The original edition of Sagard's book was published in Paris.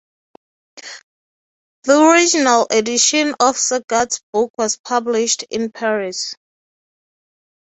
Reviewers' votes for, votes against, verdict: 3, 0, accepted